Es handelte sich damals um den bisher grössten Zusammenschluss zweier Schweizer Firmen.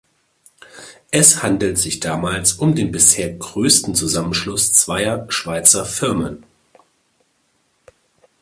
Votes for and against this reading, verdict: 1, 2, rejected